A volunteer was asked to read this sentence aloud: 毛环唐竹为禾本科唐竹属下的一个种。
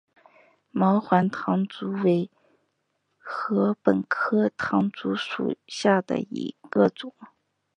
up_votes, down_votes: 3, 0